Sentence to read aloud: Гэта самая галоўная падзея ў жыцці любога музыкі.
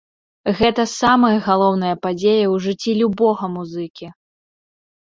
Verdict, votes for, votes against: accepted, 2, 0